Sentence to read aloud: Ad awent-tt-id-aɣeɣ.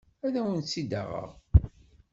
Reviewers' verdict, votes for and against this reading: accepted, 2, 0